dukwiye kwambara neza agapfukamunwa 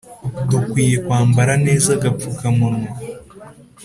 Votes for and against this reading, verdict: 2, 0, accepted